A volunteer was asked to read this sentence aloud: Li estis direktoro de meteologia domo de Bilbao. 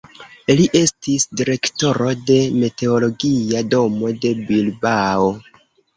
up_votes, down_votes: 2, 1